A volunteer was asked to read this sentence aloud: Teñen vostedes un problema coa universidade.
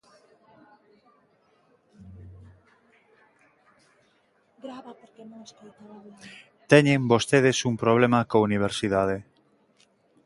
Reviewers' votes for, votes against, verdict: 0, 2, rejected